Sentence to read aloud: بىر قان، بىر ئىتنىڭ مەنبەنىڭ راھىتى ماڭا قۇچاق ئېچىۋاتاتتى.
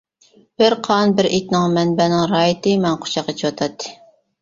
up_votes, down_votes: 2, 1